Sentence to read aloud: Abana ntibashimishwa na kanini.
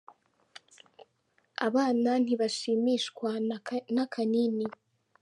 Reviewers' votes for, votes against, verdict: 1, 2, rejected